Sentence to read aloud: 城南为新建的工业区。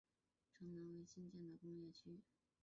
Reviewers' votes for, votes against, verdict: 0, 5, rejected